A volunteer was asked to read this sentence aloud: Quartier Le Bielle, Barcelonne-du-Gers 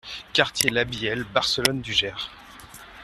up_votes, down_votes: 0, 2